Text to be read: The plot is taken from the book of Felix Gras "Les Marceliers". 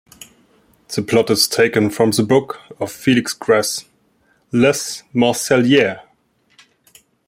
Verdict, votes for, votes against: rejected, 0, 2